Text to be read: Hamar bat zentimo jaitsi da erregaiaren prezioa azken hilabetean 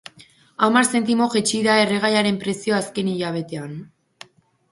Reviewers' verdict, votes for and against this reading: rejected, 2, 2